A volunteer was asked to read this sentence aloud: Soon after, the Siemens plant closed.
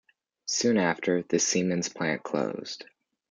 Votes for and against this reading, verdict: 2, 0, accepted